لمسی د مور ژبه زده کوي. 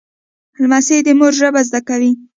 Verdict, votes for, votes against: rejected, 1, 2